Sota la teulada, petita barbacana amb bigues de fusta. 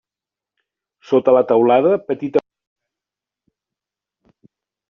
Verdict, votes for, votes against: rejected, 0, 2